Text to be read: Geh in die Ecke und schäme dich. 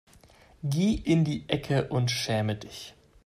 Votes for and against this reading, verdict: 2, 0, accepted